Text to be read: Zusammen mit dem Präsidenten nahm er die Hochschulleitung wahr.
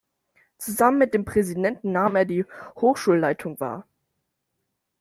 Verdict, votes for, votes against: accepted, 2, 0